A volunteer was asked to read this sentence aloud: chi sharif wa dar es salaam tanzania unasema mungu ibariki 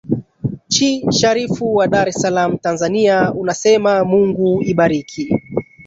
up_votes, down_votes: 1, 2